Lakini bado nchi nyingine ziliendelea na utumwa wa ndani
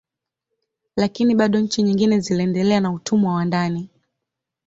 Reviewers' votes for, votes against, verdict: 4, 1, accepted